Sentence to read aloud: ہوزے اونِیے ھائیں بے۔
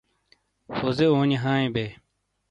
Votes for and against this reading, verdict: 2, 0, accepted